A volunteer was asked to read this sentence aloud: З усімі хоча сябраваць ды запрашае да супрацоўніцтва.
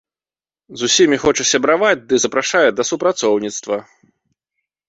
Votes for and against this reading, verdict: 2, 0, accepted